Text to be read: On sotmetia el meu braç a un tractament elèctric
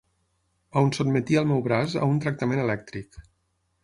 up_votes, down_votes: 9, 0